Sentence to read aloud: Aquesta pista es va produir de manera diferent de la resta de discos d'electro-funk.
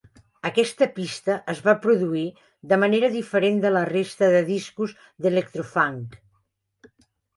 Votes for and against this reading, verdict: 2, 0, accepted